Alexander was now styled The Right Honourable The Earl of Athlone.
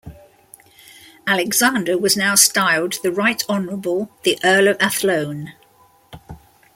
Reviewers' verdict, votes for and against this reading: accepted, 2, 0